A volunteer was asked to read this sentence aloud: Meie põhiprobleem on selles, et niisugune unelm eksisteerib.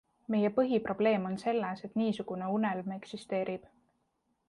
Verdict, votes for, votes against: accepted, 2, 0